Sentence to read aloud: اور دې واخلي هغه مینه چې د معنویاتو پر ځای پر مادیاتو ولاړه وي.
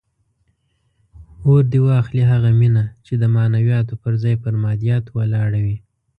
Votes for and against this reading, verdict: 2, 0, accepted